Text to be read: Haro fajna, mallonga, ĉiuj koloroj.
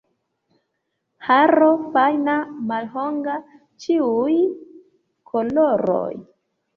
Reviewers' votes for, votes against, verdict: 1, 2, rejected